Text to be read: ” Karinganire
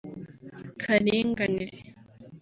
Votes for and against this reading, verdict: 6, 0, accepted